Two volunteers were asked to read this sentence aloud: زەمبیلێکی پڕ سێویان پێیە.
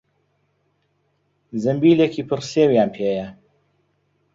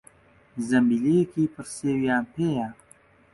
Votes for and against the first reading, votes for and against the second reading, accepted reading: 2, 0, 0, 2, first